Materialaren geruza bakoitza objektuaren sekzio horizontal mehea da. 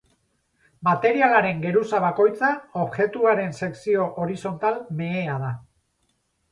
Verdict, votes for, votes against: rejected, 2, 2